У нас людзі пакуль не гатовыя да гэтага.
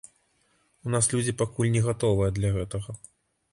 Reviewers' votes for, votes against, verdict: 0, 2, rejected